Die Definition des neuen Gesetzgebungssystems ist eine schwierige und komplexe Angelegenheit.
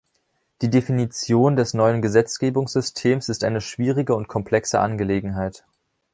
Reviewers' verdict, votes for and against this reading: accepted, 2, 0